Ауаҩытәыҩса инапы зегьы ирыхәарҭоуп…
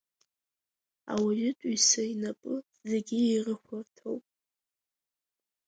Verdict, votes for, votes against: accepted, 2, 1